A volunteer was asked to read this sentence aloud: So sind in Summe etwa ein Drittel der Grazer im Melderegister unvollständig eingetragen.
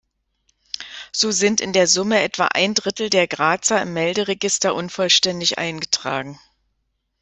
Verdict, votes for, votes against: rejected, 1, 2